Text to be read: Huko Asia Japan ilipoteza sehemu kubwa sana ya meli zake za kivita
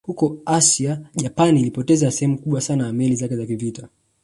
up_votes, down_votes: 2, 0